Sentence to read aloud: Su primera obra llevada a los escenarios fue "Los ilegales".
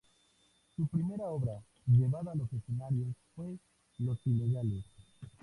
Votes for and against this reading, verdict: 0, 2, rejected